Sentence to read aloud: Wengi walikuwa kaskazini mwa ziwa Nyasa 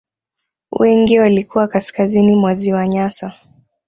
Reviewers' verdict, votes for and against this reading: accepted, 2, 1